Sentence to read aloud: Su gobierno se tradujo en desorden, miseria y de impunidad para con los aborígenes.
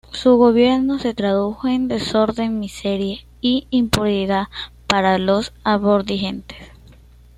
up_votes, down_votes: 1, 2